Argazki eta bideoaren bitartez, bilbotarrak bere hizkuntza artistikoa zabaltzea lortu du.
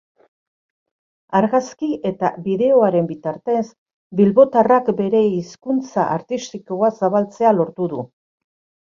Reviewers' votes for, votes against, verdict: 4, 0, accepted